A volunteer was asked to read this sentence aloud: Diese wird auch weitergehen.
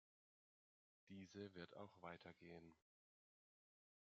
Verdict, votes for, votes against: accepted, 2, 1